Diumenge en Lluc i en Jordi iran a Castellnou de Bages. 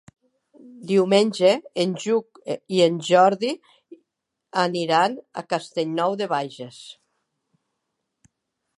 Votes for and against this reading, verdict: 1, 2, rejected